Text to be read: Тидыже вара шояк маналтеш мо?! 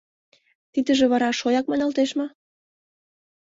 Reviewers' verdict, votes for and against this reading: accepted, 2, 0